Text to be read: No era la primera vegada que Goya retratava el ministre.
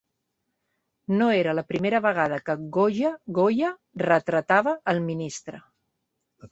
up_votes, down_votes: 1, 2